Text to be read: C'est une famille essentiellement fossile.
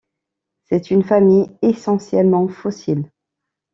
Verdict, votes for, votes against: accepted, 2, 0